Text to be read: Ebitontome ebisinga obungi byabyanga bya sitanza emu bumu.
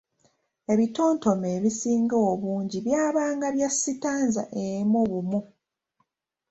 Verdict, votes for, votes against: accepted, 2, 1